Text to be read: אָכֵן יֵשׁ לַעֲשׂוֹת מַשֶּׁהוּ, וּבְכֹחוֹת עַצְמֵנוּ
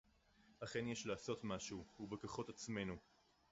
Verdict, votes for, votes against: rejected, 2, 2